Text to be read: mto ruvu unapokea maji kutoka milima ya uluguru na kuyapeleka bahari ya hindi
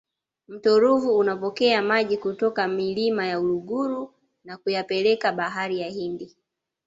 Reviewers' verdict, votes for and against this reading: accepted, 2, 0